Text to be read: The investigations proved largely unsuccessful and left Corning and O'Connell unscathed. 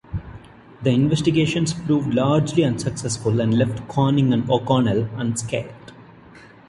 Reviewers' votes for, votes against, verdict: 2, 0, accepted